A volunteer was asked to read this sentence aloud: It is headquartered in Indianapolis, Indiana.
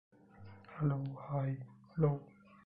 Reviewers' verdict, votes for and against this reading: rejected, 0, 3